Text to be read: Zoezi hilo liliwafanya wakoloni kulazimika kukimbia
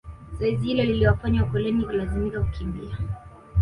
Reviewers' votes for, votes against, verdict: 1, 2, rejected